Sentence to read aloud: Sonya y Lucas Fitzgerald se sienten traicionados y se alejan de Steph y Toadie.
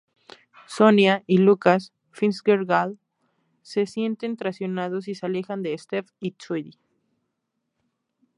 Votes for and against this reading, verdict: 2, 0, accepted